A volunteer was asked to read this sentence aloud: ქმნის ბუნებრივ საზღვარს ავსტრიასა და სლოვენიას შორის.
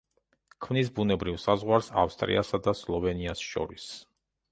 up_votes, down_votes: 2, 0